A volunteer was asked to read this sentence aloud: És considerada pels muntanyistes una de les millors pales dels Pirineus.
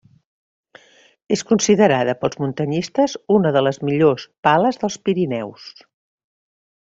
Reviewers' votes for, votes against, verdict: 3, 0, accepted